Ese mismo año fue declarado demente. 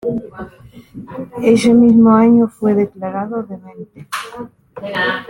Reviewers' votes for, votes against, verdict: 1, 2, rejected